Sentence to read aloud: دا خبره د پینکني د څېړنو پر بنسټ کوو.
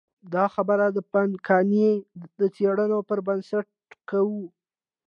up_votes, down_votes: 1, 2